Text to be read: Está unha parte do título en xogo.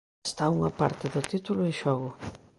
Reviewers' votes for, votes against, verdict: 2, 0, accepted